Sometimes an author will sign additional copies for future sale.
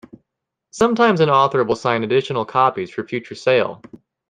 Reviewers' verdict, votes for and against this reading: accepted, 2, 0